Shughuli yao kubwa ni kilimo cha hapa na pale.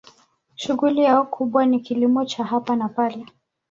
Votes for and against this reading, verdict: 2, 0, accepted